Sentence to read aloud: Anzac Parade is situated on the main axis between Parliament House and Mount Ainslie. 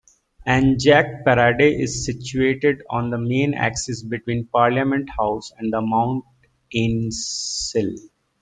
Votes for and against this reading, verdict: 1, 2, rejected